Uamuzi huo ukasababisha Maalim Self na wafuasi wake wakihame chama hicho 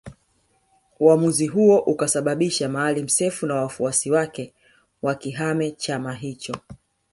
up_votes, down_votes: 4, 0